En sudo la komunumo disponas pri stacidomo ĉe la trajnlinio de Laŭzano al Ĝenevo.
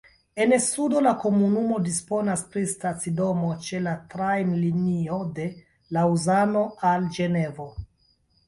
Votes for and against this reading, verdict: 2, 0, accepted